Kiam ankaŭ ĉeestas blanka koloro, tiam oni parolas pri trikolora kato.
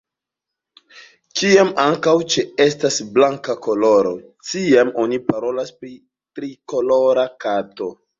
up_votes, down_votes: 2, 0